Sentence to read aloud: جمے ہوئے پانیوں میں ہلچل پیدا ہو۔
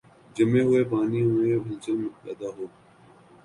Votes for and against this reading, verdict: 0, 3, rejected